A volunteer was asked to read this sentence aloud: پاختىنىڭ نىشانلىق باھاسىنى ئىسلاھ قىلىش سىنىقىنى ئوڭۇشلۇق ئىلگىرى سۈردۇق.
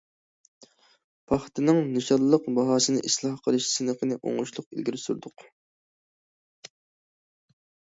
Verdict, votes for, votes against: accepted, 2, 0